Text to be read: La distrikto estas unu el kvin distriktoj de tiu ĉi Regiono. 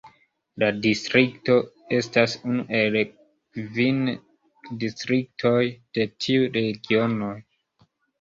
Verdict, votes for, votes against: rejected, 0, 2